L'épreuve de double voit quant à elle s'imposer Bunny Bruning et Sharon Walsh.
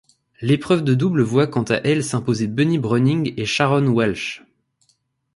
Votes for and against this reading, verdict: 2, 0, accepted